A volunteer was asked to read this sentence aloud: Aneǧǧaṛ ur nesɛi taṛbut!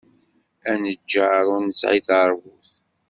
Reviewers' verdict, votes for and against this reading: rejected, 1, 2